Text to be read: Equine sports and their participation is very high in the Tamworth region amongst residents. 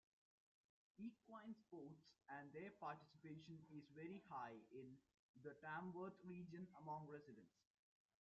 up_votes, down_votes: 0, 2